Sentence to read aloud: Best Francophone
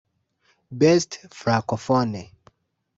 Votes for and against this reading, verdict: 1, 2, rejected